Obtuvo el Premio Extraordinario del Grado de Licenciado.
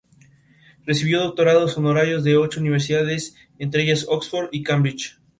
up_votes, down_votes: 0, 4